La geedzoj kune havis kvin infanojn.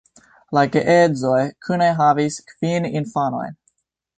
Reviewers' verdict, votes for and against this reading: accepted, 2, 1